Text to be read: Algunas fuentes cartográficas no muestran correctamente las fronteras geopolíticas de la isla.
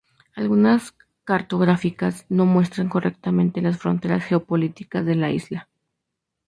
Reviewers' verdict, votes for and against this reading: rejected, 0, 2